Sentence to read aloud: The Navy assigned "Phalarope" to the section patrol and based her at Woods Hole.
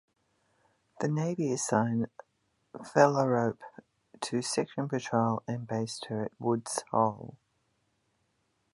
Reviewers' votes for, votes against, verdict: 0, 2, rejected